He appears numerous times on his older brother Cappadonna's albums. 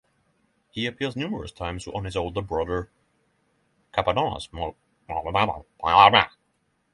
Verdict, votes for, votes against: rejected, 0, 6